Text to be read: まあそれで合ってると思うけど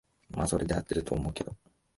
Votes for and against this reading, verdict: 2, 0, accepted